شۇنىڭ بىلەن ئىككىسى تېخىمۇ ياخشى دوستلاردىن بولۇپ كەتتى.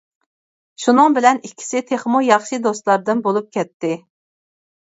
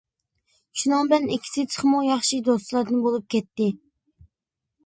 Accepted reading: first